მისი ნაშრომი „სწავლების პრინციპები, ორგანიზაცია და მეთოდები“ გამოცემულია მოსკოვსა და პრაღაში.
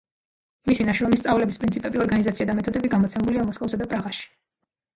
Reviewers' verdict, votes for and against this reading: rejected, 1, 2